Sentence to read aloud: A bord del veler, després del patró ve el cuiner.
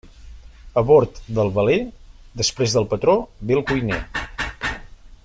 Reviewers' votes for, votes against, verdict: 1, 2, rejected